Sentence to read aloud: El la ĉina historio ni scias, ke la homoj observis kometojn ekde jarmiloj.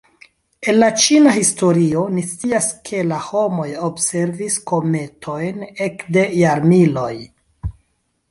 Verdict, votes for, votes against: accepted, 2, 0